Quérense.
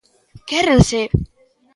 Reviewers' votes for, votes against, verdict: 2, 0, accepted